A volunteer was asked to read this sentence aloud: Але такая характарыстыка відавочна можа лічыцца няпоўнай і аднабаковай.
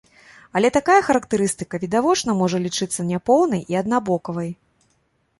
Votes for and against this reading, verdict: 1, 2, rejected